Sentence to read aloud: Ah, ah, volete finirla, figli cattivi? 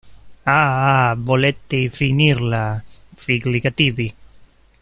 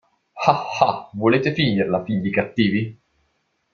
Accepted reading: second